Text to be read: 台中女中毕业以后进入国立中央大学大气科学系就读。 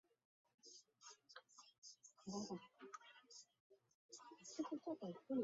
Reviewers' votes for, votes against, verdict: 1, 3, rejected